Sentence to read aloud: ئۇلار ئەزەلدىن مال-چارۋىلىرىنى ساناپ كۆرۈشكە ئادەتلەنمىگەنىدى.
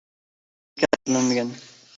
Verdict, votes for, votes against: rejected, 0, 2